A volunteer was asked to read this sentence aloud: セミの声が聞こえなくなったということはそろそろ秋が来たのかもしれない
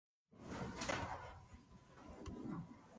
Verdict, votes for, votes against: rejected, 0, 2